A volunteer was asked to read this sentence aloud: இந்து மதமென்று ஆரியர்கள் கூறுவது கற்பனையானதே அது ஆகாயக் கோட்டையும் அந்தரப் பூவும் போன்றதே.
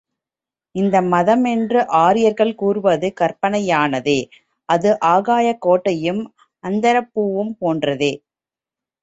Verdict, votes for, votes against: rejected, 1, 2